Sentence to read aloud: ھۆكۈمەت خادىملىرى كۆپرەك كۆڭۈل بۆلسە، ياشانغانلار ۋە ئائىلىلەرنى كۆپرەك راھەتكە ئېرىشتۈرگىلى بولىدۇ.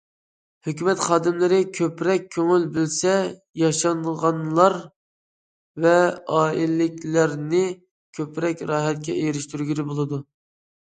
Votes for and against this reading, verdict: 0, 2, rejected